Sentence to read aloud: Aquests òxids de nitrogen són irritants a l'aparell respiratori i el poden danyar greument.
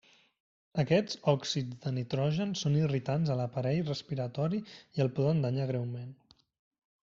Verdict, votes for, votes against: accepted, 3, 1